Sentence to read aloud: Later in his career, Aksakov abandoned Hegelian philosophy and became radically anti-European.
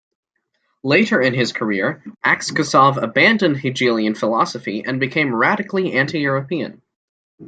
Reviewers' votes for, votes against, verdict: 2, 1, accepted